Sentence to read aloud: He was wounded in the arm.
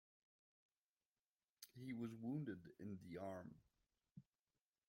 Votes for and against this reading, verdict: 1, 2, rejected